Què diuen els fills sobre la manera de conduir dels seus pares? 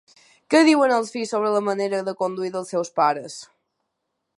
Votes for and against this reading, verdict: 2, 0, accepted